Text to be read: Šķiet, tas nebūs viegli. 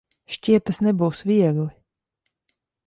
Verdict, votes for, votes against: accepted, 2, 1